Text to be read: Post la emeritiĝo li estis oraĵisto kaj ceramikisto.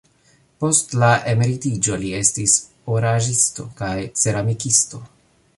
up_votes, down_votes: 1, 2